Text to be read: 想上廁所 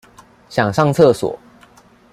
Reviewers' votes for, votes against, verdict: 2, 0, accepted